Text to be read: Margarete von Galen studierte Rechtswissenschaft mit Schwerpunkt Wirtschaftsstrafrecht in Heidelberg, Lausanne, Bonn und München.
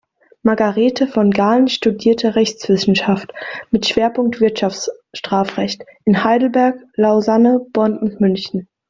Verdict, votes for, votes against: rejected, 1, 2